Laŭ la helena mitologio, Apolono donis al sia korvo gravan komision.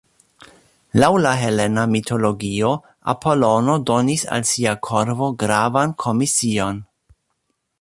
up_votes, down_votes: 0, 2